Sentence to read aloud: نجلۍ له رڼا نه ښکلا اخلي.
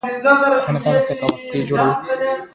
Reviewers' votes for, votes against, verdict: 2, 0, accepted